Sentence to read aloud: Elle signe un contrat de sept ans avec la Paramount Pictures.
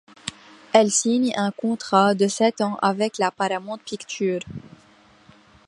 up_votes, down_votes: 2, 1